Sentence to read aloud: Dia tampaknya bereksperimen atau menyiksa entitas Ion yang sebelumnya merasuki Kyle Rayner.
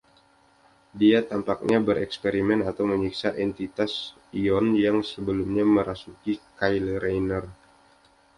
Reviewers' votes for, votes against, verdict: 2, 0, accepted